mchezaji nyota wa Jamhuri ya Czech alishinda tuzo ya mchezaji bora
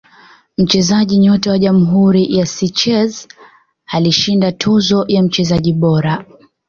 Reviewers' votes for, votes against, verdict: 1, 2, rejected